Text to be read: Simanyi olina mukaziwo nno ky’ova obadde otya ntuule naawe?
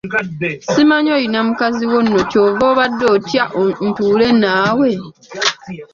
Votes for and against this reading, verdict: 1, 2, rejected